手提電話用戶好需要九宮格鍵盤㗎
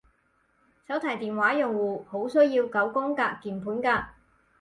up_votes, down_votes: 4, 0